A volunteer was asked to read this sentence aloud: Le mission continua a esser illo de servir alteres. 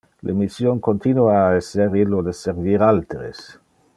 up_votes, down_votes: 2, 0